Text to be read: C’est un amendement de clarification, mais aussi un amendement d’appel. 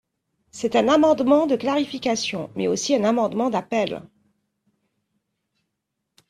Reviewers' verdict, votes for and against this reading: accepted, 2, 0